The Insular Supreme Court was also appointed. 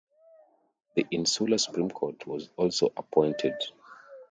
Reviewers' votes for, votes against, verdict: 2, 0, accepted